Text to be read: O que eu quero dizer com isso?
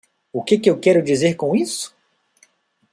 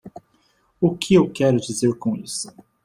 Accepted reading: second